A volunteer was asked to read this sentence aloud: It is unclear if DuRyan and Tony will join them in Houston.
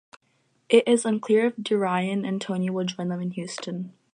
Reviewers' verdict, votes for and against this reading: accepted, 4, 0